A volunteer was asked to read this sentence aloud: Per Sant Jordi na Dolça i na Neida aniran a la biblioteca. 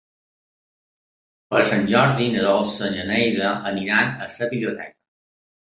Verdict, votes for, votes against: rejected, 0, 2